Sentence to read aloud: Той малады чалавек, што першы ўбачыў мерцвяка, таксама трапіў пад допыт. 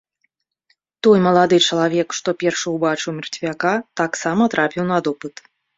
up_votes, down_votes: 1, 2